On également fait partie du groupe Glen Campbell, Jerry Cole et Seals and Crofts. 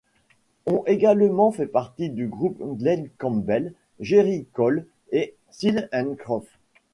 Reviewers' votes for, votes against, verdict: 1, 2, rejected